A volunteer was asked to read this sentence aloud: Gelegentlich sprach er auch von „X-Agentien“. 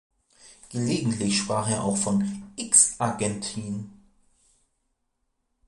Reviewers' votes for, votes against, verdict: 2, 0, accepted